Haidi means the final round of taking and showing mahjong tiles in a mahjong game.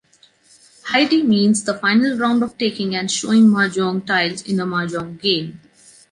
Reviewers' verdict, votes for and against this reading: accepted, 2, 0